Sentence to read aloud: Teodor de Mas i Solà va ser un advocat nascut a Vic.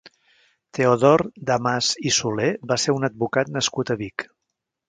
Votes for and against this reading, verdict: 1, 3, rejected